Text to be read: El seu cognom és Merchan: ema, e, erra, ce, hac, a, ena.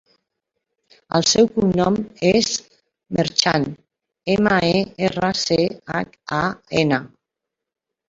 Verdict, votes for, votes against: accepted, 2, 0